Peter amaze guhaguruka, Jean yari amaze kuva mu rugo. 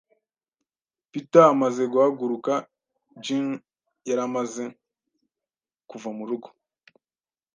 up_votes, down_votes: 2, 0